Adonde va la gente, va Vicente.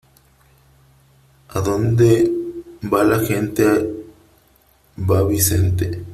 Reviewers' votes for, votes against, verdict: 2, 1, accepted